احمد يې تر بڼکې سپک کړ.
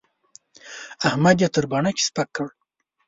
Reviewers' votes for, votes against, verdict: 2, 0, accepted